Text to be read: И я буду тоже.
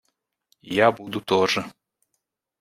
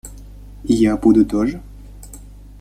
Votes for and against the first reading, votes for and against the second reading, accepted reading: 1, 2, 2, 0, second